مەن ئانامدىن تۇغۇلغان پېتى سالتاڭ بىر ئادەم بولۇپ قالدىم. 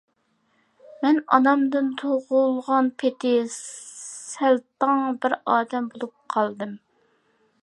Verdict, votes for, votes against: rejected, 0, 2